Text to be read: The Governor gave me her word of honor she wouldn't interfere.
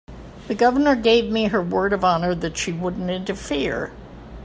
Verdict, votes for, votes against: accepted, 3, 0